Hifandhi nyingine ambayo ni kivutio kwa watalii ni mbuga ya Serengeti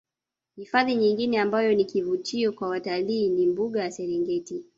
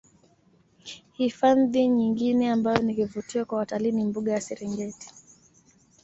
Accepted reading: second